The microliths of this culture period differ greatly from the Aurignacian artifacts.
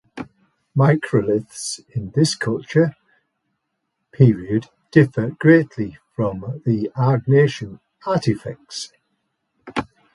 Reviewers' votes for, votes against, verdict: 1, 2, rejected